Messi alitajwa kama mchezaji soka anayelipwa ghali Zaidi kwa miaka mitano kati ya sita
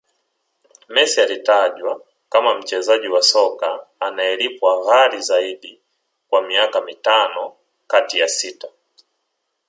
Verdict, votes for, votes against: accepted, 2, 1